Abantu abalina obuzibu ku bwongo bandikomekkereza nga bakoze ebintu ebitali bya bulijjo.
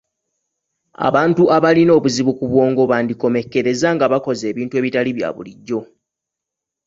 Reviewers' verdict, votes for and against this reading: accepted, 2, 0